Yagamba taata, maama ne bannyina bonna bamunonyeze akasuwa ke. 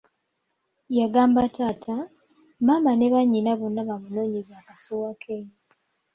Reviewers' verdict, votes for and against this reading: accepted, 2, 0